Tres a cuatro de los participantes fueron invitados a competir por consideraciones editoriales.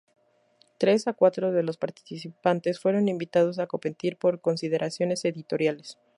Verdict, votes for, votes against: accepted, 2, 0